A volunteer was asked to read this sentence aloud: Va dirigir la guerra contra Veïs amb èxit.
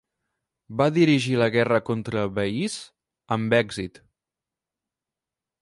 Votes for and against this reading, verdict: 2, 3, rejected